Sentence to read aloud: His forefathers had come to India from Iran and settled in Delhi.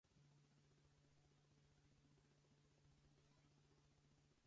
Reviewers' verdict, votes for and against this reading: rejected, 0, 4